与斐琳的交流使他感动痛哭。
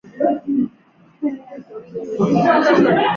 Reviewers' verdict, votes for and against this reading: rejected, 2, 4